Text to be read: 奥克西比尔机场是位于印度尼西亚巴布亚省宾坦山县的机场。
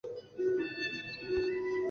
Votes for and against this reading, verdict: 3, 4, rejected